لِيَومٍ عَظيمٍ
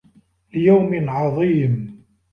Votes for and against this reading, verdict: 2, 0, accepted